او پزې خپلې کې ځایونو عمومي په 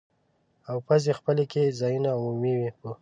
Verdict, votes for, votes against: accepted, 2, 0